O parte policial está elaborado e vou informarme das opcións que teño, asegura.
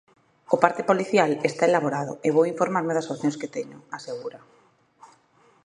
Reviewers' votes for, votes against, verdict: 2, 0, accepted